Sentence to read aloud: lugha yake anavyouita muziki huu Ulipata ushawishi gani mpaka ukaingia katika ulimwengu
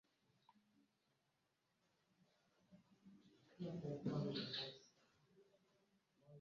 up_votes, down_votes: 0, 2